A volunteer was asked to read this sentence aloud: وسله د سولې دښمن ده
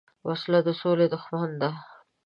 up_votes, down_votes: 4, 0